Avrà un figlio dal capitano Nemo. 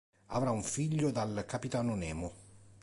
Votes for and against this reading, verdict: 2, 0, accepted